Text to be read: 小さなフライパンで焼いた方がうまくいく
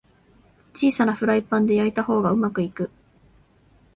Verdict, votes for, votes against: accepted, 2, 0